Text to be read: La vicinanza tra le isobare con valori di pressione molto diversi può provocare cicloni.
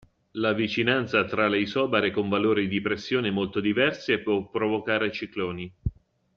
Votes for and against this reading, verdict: 2, 0, accepted